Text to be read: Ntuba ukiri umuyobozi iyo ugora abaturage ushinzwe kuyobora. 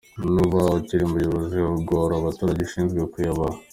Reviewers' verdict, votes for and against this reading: accepted, 2, 1